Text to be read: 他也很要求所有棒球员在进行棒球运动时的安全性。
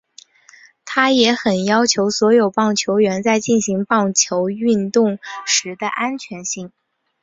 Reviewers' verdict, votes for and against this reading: accepted, 4, 0